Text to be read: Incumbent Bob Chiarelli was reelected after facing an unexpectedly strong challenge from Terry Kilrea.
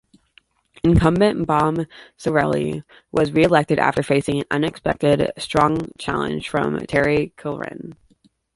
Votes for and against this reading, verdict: 2, 0, accepted